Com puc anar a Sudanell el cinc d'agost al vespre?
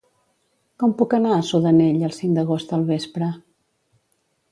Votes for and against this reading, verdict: 2, 0, accepted